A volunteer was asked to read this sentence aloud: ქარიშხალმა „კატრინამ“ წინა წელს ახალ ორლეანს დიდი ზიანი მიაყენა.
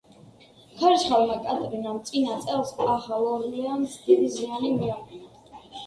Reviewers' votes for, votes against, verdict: 1, 2, rejected